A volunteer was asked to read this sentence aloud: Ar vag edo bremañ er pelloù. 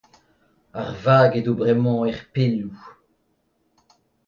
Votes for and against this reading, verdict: 2, 0, accepted